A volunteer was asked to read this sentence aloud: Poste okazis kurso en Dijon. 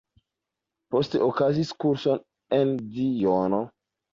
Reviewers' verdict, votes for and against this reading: rejected, 1, 2